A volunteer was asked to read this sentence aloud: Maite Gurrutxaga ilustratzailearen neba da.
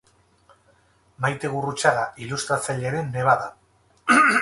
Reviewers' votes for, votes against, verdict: 2, 2, rejected